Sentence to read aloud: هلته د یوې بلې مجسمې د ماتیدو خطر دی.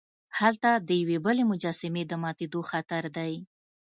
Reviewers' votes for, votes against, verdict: 2, 0, accepted